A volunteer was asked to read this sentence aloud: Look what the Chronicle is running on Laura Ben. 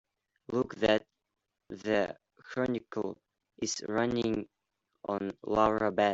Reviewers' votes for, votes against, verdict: 0, 2, rejected